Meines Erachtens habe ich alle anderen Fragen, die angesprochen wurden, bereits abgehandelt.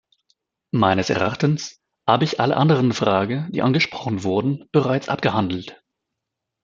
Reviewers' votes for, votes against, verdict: 1, 2, rejected